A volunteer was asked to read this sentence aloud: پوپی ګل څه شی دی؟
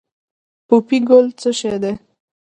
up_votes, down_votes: 2, 0